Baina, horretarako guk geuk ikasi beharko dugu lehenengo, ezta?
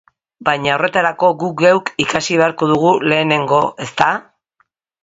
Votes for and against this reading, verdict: 3, 1, accepted